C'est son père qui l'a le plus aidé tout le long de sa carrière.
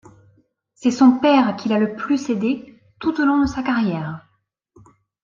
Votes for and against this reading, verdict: 1, 2, rejected